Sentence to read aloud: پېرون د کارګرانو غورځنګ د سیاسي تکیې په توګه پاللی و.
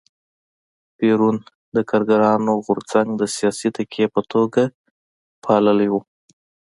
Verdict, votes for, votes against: accepted, 2, 0